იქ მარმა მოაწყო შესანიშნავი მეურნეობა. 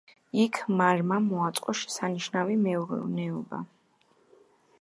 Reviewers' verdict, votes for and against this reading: rejected, 1, 2